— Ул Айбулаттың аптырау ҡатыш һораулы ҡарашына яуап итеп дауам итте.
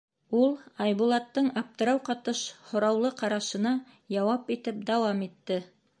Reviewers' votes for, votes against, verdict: 2, 0, accepted